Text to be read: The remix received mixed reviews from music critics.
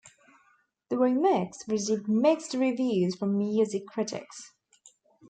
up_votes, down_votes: 0, 2